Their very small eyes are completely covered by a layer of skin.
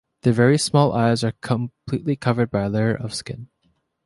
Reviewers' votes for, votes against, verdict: 2, 1, accepted